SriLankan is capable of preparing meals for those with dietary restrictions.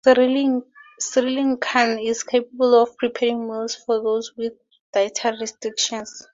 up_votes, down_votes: 2, 2